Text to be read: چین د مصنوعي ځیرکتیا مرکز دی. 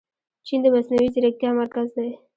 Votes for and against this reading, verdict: 0, 2, rejected